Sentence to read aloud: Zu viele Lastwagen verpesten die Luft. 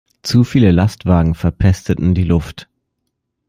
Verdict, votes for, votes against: rejected, 0, 2